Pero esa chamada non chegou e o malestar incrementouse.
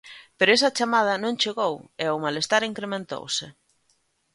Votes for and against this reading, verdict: 2, 0, accepted